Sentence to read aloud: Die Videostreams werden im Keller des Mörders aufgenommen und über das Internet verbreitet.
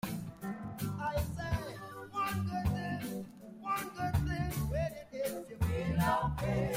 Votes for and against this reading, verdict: 0, 2, rejected